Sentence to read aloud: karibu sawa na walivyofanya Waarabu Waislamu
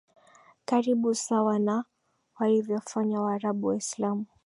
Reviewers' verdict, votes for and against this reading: accepted, 2, 0